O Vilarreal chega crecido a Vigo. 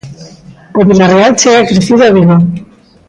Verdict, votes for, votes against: accepted, 2, 0